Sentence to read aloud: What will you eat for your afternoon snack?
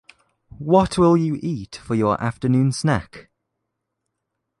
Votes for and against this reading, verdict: 2, 0, accepted